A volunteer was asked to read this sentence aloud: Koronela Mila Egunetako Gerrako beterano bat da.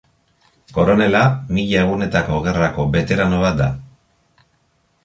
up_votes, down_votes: 2, 0